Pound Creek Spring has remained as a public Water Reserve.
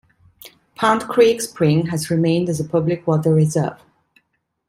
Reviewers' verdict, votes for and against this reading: accepted, 2, 0